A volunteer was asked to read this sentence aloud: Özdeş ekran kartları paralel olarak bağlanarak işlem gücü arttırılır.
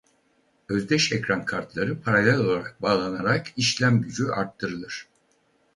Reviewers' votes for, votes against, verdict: 2, 4, rejected